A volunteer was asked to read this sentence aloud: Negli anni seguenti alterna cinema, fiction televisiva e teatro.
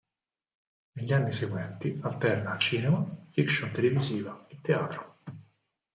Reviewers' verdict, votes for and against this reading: accepted, 4, 2